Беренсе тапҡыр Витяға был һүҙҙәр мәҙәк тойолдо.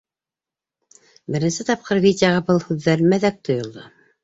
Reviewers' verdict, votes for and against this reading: accepted, 2, 1